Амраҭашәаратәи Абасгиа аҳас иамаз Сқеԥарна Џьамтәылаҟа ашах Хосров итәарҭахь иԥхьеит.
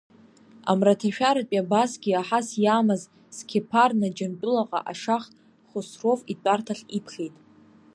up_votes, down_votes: 2, 0